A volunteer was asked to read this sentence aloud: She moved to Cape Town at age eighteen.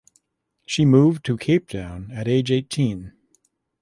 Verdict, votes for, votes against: accepted, 2, 0